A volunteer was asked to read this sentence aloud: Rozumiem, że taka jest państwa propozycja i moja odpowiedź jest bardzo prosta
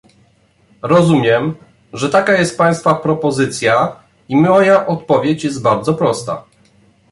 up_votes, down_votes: 1, 2